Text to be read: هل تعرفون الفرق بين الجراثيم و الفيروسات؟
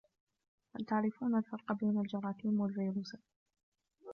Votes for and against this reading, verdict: 2, 1, accepted